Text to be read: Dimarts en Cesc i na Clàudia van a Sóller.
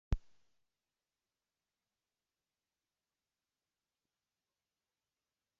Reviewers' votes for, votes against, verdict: 0, 2, rejected